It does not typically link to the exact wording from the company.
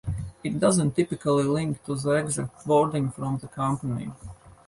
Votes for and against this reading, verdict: 0, 2, rejected